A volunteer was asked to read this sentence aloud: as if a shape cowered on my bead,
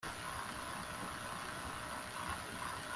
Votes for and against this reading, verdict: 0, 2, rejected